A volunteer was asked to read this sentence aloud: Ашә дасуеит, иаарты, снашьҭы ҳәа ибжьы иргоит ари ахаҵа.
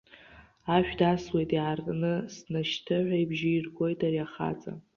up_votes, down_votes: 2, 1